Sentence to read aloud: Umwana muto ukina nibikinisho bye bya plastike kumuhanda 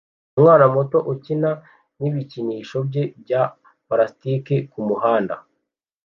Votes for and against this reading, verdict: 1, 2, rejected